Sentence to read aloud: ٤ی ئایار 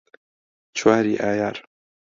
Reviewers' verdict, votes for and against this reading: rejected, 0, 2